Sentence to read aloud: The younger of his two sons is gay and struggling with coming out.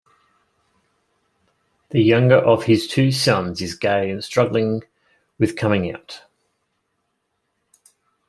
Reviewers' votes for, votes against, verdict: 2, 0, accepted